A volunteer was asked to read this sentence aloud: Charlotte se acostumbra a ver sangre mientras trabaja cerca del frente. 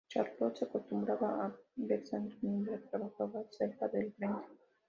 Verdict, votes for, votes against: accepted, 2, 0